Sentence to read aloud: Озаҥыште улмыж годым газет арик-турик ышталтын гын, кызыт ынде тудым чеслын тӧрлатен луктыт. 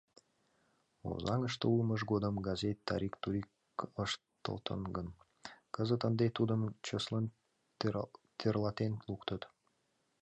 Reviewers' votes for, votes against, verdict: 1, 2, rejected